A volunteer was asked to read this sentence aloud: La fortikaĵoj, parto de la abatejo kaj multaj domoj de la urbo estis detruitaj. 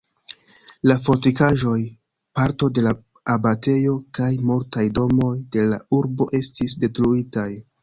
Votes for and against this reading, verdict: 0, 2, rejected